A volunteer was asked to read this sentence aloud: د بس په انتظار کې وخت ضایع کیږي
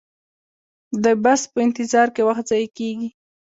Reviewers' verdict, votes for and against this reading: accepted, 2, 0